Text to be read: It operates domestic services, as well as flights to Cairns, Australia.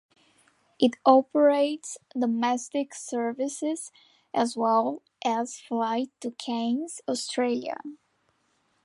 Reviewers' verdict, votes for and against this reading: rejected, 0, 2